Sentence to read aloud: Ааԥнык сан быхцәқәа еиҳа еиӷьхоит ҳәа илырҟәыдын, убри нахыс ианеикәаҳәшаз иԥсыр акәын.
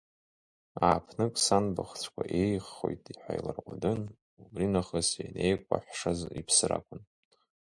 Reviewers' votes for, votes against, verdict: 0, 2, rejected